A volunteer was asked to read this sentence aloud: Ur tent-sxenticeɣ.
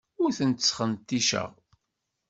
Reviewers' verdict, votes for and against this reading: accepted, 2, 0